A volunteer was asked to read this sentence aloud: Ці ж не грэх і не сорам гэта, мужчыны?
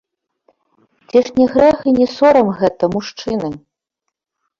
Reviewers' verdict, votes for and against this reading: accepted, 3, 1